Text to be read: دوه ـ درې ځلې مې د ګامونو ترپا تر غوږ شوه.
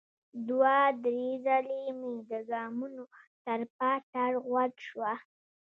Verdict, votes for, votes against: accepted, 2, 0